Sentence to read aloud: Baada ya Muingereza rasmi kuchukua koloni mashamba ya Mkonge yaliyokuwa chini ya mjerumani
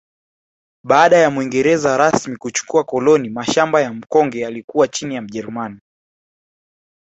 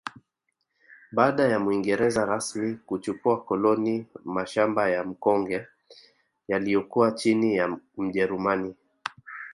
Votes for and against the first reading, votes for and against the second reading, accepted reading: 0, 2, 2, 0, second